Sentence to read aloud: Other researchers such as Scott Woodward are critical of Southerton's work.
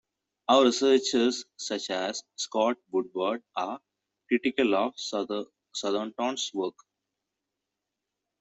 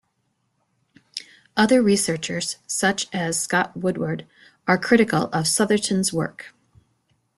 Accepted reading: second